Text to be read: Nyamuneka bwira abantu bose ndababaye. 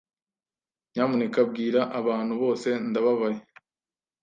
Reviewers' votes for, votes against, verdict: 2, 0, accepted